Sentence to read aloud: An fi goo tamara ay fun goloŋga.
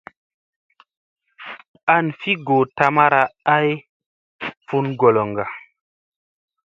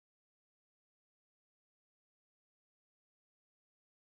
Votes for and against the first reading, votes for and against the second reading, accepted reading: 2, 0, 0, 2, first